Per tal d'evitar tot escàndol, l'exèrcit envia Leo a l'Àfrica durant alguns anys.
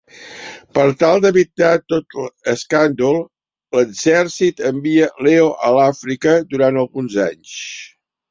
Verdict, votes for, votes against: rejected, 1, 2